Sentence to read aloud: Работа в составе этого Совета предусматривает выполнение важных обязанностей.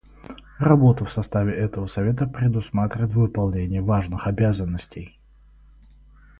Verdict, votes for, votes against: rejected, 2, 2